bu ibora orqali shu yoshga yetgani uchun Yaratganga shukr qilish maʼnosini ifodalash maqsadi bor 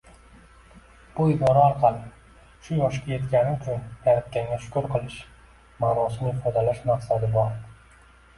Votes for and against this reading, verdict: 1, 3, rejected